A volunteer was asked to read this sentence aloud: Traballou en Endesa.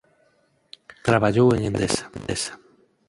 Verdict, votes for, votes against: rejected, 0, 4